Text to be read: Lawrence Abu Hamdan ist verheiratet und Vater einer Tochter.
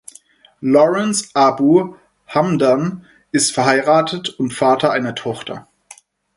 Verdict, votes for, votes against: accepted, 4, 0